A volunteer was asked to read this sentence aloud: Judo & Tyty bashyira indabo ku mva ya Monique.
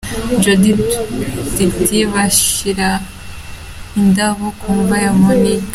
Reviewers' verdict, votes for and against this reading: accepted, 2, 0